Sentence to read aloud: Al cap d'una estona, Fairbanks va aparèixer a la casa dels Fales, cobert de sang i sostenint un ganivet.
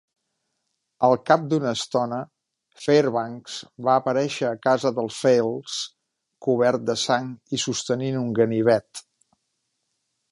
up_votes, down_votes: 1, 2